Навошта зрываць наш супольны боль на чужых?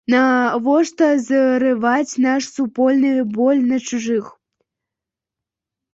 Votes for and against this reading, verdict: 2, 1, accepted